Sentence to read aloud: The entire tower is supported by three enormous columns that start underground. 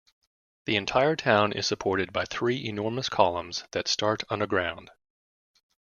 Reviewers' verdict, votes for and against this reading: rejected, 0, 2